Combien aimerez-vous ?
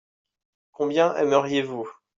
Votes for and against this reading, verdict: 0, 2, rejected